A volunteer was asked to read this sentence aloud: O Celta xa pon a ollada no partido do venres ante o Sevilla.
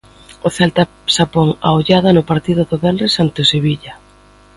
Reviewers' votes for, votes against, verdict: 2, 0, accepted